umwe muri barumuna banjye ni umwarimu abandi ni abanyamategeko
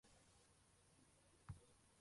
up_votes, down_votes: 0, 2